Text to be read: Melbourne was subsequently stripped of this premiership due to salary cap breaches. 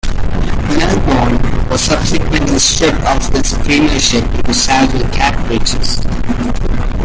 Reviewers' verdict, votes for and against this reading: rejected, 0, 2